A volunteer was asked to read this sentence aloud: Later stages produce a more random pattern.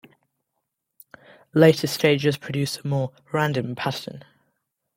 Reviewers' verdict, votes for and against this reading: accepted, 2, 0